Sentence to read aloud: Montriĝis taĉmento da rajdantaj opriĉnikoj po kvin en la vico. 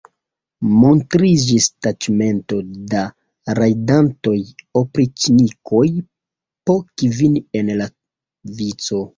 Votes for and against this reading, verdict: 0, 2, rejected